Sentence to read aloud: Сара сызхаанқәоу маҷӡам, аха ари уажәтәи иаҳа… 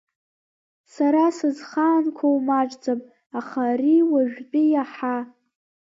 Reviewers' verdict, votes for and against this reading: accepted, 2, 0